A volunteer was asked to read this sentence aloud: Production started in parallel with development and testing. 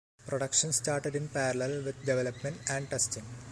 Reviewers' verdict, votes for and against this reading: accepted, 2, 0